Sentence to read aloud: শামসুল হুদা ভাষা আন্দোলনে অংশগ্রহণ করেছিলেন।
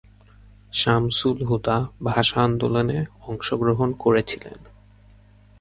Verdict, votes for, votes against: accepted, 2, 0